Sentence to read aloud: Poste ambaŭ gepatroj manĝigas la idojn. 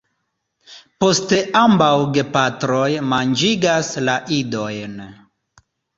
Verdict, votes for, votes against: rejected, 1, 2